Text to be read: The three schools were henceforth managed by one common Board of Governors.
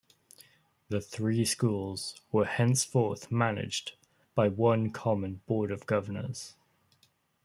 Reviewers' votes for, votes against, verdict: 2, 0, accepted